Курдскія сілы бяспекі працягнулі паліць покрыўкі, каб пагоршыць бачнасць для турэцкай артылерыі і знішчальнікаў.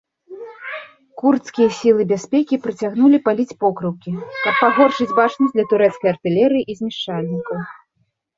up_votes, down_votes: 0, 2